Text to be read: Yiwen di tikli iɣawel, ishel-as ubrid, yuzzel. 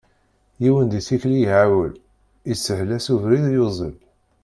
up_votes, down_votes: 1, 2